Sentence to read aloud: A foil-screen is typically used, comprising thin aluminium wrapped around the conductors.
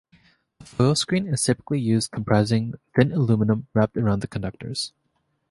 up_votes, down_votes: 2, 0